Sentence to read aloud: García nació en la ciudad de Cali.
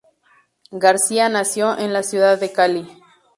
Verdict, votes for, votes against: accepted, 4, 2